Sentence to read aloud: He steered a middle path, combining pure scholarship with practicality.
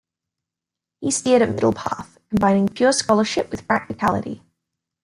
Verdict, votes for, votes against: accepted, 2, 0